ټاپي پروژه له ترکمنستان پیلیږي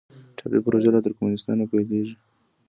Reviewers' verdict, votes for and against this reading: rejected, 1, 2